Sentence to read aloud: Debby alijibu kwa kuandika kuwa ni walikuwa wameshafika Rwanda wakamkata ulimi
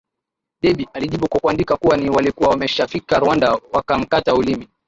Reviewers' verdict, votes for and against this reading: accepted, 4, 0